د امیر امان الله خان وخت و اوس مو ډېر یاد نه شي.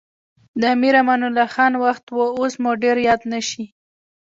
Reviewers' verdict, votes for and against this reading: accepted, 2, 0